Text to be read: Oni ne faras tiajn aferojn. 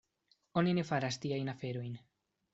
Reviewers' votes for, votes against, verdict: 2, 0, accepted